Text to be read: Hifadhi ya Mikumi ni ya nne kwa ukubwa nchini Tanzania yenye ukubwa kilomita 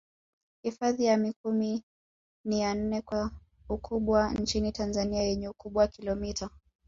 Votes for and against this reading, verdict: 2, 1, accepted